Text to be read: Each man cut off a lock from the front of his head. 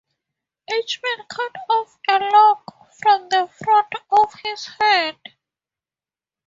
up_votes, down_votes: 2, 0